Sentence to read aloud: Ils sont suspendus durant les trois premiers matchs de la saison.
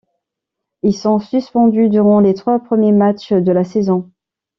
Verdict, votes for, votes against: accepted, 2, 0